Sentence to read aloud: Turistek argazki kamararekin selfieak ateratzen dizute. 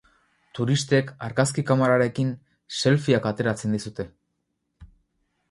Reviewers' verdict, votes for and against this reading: rejected, 0, 2